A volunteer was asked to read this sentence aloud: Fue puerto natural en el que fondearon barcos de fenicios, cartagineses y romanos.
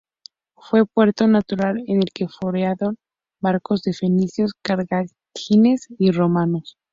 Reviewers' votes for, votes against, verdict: 2, 0, accepted